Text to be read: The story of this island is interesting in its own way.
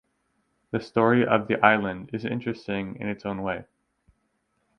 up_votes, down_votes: 0, 4